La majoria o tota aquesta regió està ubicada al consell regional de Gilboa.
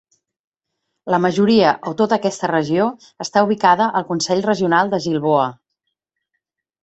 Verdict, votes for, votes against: accepted, 3, 0